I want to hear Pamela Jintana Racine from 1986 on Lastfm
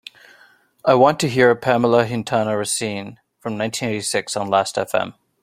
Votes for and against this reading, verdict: 0, 2, rejected